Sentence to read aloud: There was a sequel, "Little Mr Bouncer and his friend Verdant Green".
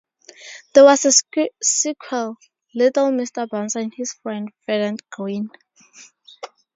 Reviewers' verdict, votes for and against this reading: rejected, 0, 4